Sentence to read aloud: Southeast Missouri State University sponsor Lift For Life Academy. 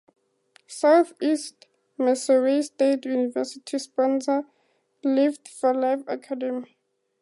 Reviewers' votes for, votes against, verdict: 4, 0, accepted